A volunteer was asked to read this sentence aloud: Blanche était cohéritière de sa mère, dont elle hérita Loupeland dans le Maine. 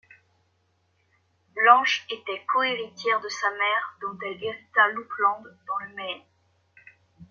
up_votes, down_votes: 1, 2